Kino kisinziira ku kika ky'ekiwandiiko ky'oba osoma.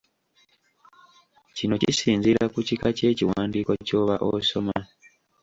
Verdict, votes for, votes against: rejected, 1, 2